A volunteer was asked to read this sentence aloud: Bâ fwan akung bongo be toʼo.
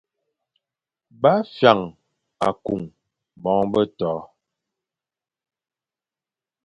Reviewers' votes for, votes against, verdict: 2, 0, accepted